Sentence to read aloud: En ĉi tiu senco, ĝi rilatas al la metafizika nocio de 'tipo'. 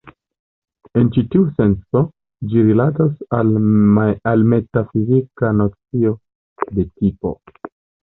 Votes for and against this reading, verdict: 1, 2, rejected